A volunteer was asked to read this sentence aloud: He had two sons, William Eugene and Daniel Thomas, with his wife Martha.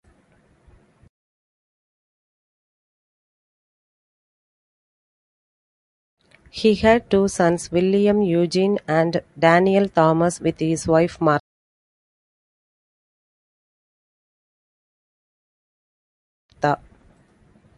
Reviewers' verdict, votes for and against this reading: rejected, 1, 2